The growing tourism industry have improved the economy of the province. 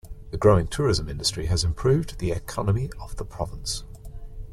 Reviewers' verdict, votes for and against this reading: rejected, 1, 2